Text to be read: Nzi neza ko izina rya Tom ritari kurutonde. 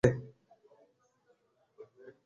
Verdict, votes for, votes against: rejected, 1, 2